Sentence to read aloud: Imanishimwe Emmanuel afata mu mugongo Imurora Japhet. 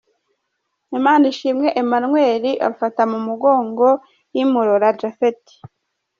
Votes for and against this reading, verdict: 2, 0, accepted